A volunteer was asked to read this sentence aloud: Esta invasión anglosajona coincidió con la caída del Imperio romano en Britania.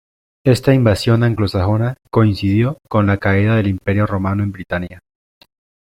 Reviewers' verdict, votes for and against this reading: accepted, 2, 0